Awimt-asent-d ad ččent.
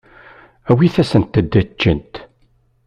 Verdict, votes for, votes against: rejected, 1, 2